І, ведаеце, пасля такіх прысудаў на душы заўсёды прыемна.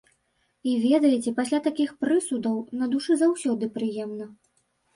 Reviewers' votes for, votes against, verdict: 1, 2, rejected